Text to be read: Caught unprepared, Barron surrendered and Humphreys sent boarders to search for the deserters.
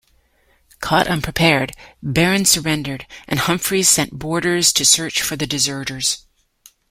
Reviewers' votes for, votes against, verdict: 2, 0, accepted